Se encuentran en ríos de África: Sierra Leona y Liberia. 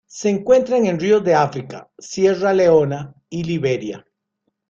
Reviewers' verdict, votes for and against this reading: rejected, 1, 2